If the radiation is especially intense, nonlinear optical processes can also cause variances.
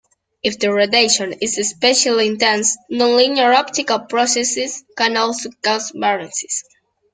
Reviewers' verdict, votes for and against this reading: rejected, 1, 2